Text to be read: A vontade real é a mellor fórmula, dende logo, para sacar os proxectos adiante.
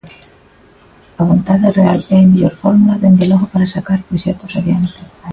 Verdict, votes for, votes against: accepted, 2, 0